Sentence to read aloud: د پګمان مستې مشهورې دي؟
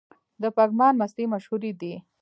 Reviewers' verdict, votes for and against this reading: rejected, 1, 2